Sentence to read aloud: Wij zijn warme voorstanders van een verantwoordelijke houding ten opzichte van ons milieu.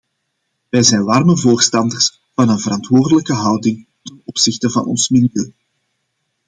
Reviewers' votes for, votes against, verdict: 2, 1, accepted